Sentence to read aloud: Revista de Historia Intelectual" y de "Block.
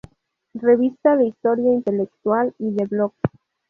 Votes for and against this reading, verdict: 2, 0, accepted